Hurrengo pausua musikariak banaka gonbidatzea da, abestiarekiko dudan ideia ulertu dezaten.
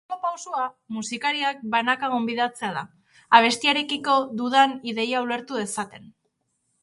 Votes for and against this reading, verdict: 1, 2, rejected